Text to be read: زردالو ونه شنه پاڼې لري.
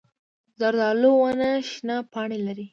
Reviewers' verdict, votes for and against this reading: accepted, 2, 0